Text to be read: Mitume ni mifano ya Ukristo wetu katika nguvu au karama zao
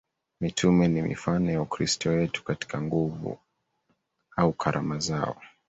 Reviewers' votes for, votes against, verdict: 2, 1, accepted